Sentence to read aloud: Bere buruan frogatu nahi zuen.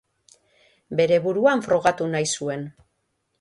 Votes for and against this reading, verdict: 3, 0, accepted